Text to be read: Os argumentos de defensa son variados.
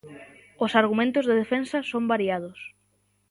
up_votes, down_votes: 2, 0